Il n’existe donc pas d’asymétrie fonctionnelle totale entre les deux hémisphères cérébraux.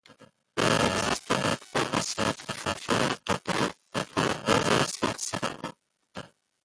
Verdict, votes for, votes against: rejected, 0, 2